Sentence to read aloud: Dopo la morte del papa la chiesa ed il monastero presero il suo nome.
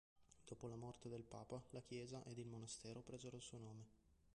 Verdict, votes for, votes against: rejected, 0, 2